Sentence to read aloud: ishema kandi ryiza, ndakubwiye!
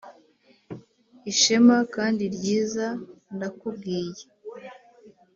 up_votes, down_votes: 3, 0